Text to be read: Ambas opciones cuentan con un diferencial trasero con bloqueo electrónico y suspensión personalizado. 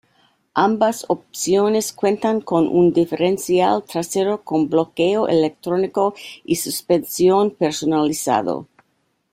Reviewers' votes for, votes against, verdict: 1, 2, rejected